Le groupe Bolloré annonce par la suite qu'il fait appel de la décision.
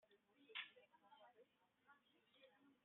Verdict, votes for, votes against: rejected, 0, 2